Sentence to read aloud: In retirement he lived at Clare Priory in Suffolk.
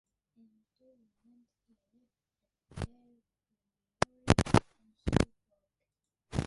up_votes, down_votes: 0, 2